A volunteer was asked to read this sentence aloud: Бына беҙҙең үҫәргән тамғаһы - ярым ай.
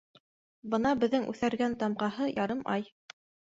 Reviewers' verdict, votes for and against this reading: accepted, 2, 0